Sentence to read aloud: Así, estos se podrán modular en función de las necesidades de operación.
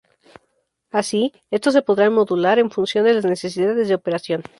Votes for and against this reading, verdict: 2, 2, rejected